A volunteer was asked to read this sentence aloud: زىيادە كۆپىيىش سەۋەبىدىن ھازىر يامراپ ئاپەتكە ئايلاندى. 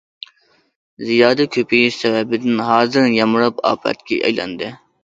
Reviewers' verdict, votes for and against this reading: accepted, 2, 1